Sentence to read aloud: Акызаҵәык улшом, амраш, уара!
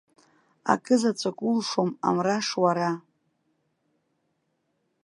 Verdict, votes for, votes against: rejected, 1, 2